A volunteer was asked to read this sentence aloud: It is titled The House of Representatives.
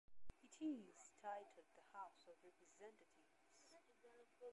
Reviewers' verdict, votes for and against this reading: rejected, 1, 2